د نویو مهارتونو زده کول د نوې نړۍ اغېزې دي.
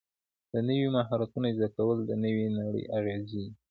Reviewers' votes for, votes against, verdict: 2, 1, accepted